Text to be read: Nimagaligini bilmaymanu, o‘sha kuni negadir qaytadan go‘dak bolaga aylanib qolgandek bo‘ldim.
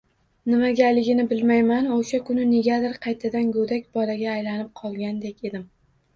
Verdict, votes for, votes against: accepted, 2, 0